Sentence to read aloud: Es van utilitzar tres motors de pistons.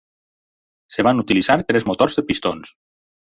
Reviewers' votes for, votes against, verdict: 0, 4, rejected